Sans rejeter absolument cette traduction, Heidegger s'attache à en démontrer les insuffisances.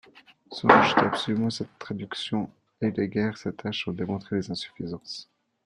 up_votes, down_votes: 0, 2